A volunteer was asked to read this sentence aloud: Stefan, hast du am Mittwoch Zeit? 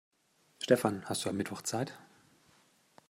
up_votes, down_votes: 2, 0